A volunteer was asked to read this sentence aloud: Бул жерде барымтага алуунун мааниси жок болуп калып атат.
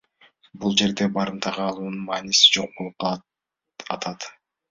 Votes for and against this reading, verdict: 2, 1, accepted